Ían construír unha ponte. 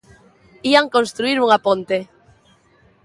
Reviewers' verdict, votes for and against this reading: accepted, 3, 0